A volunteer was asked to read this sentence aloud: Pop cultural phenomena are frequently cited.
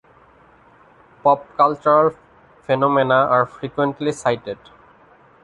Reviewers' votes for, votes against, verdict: 2, 0, accepted